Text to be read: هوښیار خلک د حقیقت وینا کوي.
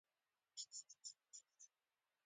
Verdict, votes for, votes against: rejected, 1, 2